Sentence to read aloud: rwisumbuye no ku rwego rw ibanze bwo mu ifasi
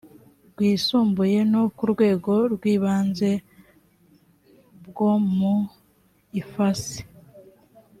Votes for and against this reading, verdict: 2, 0, accepted